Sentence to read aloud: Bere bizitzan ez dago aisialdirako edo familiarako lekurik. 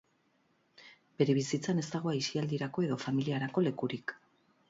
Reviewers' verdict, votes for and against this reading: accepted, 4, 0